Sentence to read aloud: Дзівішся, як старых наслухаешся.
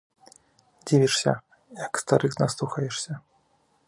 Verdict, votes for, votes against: accepted, 3, 0